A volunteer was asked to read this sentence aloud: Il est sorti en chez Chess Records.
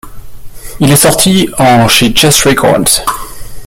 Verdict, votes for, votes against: rejected, 0, 2